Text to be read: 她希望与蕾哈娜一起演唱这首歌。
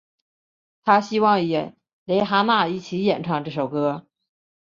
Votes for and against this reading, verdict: 7, 0, accepted